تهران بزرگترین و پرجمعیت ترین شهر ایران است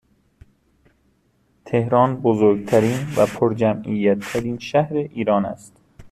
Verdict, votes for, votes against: accepted, 2, 0